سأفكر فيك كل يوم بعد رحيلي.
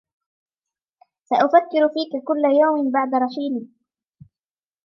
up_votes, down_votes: 1, 2